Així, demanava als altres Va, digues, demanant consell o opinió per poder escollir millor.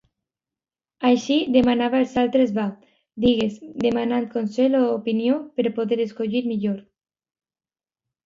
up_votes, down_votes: 2, 0